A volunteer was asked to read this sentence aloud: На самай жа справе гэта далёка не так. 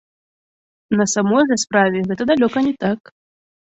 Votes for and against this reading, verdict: 0, 2, rejected